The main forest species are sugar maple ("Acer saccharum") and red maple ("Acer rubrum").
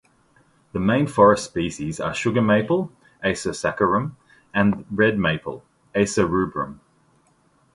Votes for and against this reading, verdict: 2, 0, accepted